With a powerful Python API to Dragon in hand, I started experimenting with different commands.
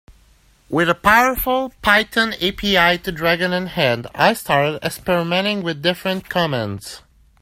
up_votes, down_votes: 3, 0